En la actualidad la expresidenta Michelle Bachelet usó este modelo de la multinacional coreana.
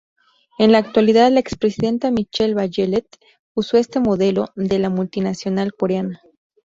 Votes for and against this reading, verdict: 2, 0, accepted